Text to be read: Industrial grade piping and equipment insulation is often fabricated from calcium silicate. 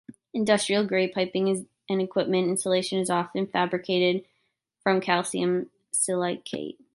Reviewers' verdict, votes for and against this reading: rejected, 0, 2